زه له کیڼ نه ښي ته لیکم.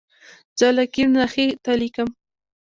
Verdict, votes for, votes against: accepted, 2, 0